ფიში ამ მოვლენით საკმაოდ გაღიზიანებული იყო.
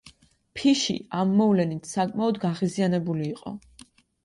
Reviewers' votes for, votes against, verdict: 2, 0, accepted